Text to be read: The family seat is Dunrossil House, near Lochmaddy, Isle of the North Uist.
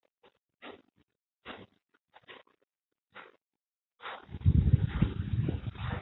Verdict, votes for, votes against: rejected, 0, 2